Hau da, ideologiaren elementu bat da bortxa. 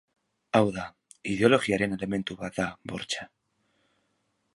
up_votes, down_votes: 2, 0